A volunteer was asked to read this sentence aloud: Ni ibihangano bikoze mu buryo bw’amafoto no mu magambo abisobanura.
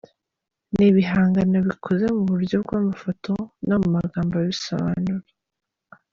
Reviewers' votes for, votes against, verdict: 2, 0, accepted